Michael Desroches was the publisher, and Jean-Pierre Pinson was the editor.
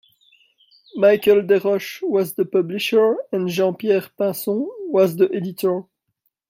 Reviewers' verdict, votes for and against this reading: rejected, 1, 2